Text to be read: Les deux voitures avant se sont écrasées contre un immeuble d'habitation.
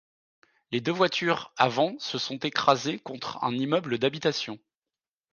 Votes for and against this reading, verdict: 2, 0, accepted